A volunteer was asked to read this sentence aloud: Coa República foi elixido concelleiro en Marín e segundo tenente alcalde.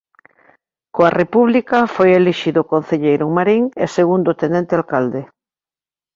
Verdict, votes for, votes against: accepted, 2, 0